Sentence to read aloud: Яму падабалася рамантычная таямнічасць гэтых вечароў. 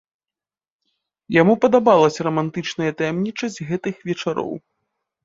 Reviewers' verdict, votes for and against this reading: accepted, 3, 0